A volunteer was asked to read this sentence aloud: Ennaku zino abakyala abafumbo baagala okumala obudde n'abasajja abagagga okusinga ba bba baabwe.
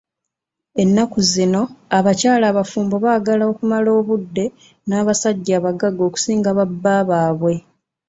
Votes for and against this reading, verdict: 2, 0, accepted